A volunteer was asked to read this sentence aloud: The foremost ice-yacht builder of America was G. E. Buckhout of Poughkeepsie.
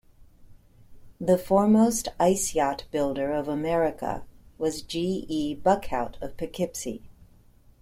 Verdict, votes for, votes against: accepted, 2, 0